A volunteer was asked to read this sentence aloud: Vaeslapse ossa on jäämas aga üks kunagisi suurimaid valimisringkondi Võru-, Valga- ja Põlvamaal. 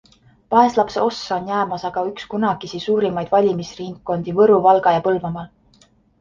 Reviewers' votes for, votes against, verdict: 4, 0, accepted